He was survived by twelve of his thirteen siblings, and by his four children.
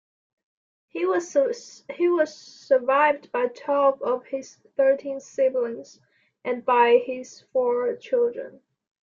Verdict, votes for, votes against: accepted, 2, 0